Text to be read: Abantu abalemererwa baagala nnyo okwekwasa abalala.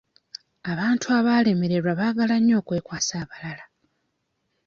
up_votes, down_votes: 1, 2